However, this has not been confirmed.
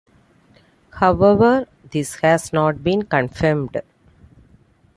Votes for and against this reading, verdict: 2, 0, accepted